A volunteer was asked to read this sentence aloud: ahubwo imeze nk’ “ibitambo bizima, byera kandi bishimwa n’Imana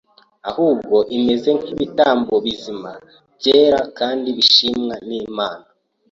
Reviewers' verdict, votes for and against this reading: accepted, 2, 0